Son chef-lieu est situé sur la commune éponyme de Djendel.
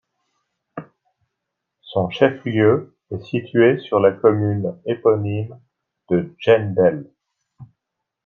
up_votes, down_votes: 2, 0